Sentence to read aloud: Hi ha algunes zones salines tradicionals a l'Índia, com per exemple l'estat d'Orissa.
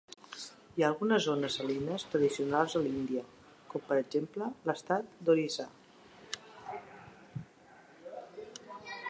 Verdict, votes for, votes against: accepted, 2, 1